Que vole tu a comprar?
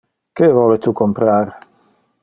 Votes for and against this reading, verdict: 1, 2, rejected